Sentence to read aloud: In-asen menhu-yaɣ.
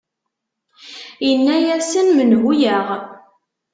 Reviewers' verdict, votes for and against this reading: rejected, 0, 2